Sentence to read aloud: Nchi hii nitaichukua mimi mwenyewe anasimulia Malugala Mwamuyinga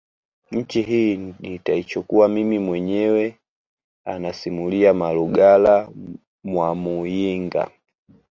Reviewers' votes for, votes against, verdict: 1, 2, rejected